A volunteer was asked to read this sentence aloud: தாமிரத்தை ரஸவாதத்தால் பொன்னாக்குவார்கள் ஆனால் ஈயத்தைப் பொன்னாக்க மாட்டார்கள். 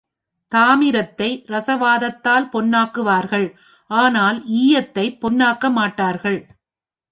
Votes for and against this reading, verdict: 2, 0, accepted